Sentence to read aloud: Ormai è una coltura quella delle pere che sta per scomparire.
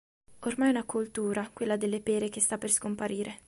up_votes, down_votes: 2, 0